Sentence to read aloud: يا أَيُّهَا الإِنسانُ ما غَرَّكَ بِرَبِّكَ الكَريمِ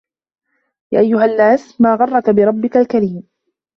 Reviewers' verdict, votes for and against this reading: rejected, 1, 2